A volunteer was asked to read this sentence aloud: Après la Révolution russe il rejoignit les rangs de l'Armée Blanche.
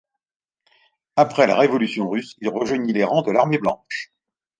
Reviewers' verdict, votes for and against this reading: accepted, 2, 0